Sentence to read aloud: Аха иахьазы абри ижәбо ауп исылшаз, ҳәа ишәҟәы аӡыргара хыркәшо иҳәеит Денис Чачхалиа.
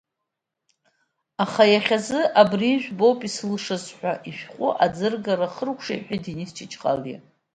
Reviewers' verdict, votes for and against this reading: rejected, 1, 2